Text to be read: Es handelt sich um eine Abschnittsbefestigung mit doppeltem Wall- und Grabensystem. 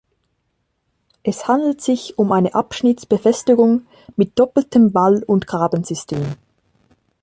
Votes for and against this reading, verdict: 2, 0, accepted